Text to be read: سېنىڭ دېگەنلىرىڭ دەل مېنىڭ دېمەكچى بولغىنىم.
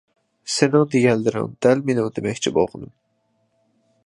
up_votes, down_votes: 2, 0